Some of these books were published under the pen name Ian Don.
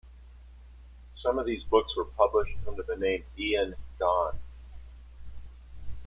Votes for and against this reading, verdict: 0, 2, rejected